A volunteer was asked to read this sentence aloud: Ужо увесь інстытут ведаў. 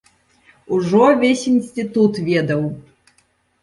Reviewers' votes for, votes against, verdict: 0, 2, rejected